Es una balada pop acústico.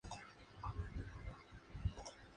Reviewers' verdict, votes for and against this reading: rejected, 0, 2